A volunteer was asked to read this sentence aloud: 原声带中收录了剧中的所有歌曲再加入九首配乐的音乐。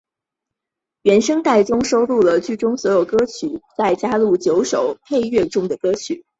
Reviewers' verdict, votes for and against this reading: rejected, 0, 2